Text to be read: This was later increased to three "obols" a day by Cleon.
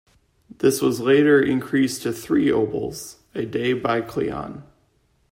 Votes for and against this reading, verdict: 2, 0, accepted